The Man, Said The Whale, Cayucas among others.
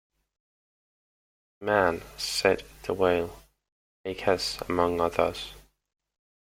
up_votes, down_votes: 0, 2